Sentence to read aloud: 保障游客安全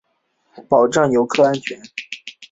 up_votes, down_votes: 2, 0